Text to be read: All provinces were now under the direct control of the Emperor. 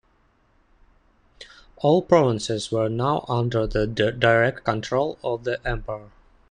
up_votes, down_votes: 0, 2